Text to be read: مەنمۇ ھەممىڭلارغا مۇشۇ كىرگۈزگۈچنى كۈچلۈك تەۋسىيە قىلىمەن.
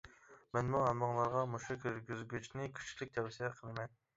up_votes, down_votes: 0, 2